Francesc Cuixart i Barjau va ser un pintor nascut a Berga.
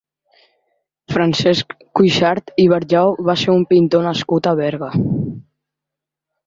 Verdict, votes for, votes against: accepted, 2, 0